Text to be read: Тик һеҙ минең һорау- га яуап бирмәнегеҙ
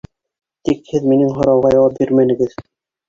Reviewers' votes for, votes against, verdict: 0, 2, rejected